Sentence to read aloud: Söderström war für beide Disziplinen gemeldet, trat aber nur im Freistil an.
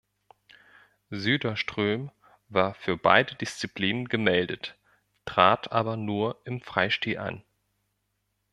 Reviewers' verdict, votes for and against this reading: accepted, 2, 0